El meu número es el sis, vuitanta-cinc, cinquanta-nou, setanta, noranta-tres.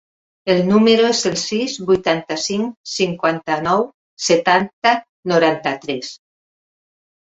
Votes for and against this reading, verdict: 1, 2, rejected